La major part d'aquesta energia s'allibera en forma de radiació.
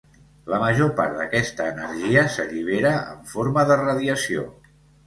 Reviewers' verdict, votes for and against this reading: accepted, 2, 0